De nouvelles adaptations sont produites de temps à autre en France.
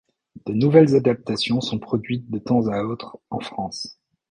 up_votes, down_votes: 1, 2